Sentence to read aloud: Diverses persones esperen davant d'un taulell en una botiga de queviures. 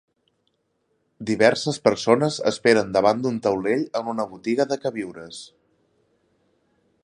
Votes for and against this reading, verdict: 1, 2, rejected